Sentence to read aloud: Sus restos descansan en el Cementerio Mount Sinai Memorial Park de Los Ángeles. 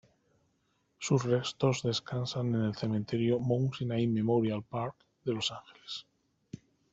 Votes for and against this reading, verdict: 0, 2, rejected